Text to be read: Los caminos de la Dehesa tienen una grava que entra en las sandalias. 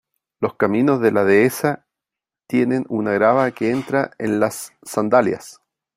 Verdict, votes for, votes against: accepted, 3, 0